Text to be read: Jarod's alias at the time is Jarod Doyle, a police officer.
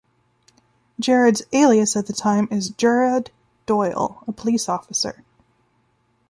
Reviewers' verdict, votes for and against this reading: rejected, 0, 2